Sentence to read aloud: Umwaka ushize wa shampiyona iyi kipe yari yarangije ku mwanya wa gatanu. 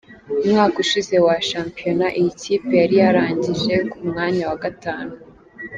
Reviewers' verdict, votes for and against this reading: accepted, 2, 0